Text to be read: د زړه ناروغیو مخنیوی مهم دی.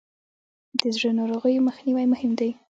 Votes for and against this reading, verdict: 2, 0, accepted